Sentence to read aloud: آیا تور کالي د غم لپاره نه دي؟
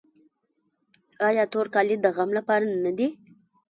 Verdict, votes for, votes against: rejected, 1, 2